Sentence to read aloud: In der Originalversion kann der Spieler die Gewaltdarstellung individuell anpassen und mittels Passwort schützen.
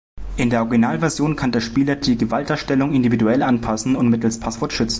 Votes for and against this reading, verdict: 0, 2, rejected